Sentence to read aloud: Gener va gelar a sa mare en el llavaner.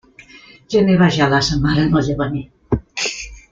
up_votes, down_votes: 1, 2